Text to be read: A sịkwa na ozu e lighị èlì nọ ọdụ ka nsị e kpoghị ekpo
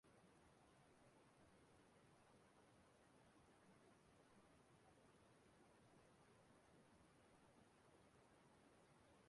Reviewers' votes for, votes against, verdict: 0, 2, rejected